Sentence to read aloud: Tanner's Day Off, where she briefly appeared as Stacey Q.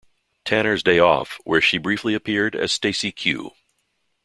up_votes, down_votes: 2, 1